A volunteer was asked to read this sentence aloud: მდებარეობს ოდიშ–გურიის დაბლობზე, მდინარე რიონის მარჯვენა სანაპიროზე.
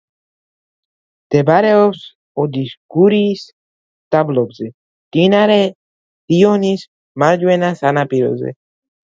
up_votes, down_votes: 2, 0